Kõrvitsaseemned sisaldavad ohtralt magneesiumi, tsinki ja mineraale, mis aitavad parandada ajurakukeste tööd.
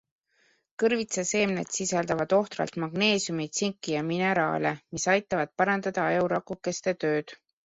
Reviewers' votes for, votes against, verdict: 2, 0, accepted